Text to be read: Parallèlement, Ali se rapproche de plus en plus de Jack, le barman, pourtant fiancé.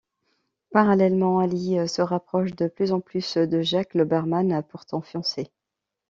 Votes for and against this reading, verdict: 1, 2, rejected